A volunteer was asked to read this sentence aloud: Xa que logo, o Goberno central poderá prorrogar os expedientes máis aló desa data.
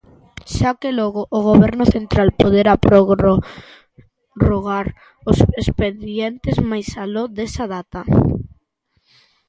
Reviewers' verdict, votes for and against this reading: rejected, 0, 2